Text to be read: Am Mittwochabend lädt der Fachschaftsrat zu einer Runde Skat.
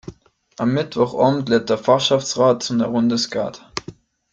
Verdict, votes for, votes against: rejected, 1, 2